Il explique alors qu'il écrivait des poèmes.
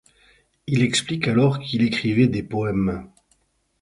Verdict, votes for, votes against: accepted, 4, 0